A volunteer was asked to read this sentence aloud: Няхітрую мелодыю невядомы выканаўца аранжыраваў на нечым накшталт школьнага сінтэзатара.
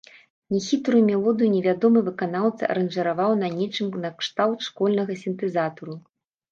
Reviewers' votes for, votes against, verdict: 0, 2, rejected